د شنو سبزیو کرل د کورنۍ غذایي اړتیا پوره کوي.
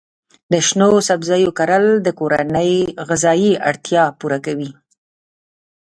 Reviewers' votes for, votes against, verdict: 1, 2, rejected